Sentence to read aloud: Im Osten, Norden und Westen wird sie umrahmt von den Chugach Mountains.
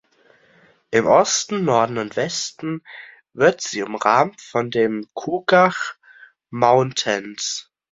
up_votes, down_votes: 2, 0